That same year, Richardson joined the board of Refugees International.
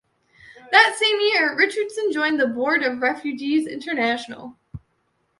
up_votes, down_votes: 2, 0